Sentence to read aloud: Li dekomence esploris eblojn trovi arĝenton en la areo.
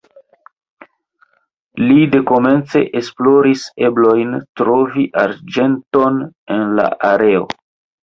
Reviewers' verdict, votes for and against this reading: rejected, 1, 2